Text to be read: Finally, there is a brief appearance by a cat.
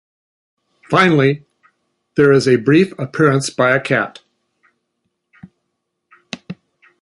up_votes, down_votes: 3, 0